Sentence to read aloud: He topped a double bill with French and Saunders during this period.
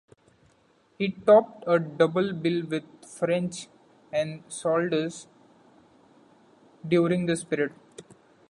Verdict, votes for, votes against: accepted, 2, 0